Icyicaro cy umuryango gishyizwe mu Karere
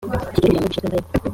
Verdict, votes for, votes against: rejected, 0, 2